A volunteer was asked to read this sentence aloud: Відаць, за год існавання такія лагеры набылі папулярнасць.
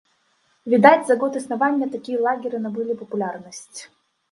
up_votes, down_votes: 1, 2